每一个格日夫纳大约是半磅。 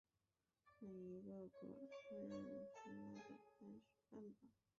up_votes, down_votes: 0, 2